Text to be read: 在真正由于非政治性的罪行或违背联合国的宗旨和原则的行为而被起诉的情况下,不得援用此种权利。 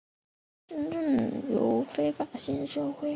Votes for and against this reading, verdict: 0, 6, rejected